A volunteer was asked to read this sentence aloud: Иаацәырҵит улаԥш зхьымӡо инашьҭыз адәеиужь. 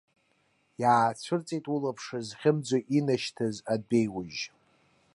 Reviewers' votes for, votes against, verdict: 2, 0, accepted